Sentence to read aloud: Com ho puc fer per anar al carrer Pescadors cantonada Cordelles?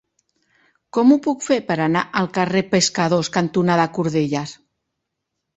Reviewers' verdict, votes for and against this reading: accepted, 3, 0